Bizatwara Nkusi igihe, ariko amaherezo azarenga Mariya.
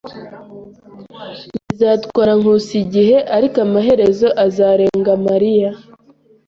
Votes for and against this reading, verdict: 1, 2, rejected